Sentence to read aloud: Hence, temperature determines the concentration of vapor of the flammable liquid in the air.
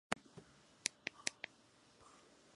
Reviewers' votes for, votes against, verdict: 0, 2, rejected